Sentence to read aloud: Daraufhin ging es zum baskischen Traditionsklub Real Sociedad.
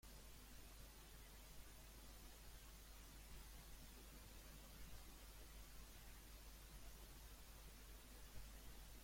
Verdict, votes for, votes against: rejected, 0, 2